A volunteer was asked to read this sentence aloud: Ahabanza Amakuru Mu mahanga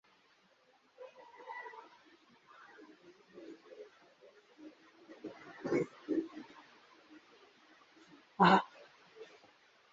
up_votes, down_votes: 1, 2